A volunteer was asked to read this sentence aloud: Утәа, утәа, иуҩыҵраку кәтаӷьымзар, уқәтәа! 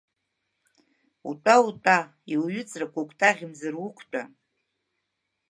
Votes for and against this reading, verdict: 0, 2, rejected